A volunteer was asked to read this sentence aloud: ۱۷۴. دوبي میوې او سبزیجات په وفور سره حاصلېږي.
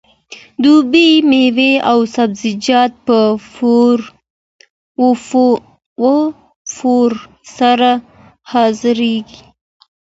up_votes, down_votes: 0, 2